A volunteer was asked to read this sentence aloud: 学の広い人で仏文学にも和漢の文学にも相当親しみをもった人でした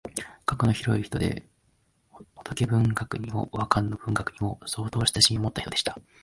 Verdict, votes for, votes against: rejected, 0, 2